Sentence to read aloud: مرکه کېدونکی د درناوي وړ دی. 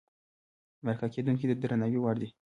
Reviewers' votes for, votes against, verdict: 0, 2, rejected